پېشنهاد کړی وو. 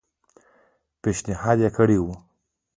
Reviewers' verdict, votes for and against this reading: accepted, 2, 0